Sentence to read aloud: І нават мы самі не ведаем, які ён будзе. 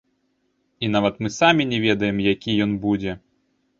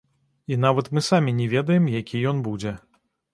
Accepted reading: second